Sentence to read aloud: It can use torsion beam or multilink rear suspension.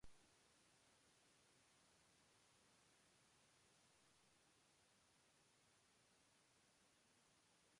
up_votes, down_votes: 0, 2